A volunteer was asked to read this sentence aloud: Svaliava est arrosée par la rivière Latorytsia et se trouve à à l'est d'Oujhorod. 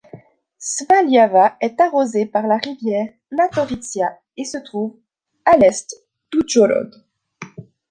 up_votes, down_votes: 2, 0